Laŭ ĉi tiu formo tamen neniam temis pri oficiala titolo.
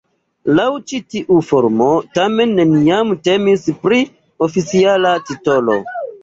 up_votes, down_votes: 2, 0